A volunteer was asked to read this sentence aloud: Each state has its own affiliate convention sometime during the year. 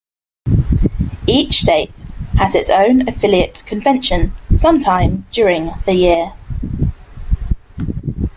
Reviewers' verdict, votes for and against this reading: accepted, 2, 0